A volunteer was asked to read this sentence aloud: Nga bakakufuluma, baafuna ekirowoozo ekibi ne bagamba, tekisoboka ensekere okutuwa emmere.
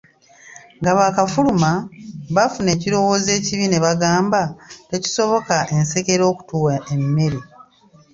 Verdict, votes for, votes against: rejected, 0, 2